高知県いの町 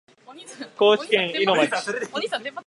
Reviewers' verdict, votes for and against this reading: rejected, 1, 2